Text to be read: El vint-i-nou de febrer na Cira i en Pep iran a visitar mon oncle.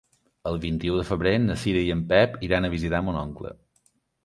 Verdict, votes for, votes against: rejected, 1, 2